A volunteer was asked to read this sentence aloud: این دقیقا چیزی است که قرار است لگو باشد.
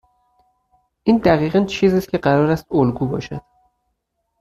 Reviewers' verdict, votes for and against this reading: rejected, 0, 4